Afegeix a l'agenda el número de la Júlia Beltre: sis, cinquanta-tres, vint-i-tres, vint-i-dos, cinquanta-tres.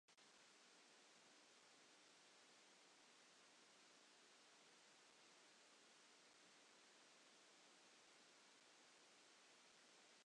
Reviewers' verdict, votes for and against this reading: rejected, 0, 2